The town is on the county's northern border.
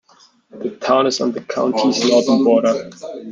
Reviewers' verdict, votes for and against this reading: rejected, 0, 2